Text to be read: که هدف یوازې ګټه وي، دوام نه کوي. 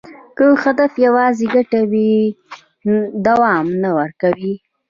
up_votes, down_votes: 0, 2